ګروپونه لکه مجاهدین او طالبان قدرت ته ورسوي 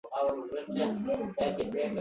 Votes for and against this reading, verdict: 1, 2, rejected